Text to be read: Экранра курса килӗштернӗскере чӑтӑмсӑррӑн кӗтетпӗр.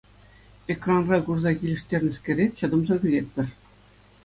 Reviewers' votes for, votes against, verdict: 2, 0, accepted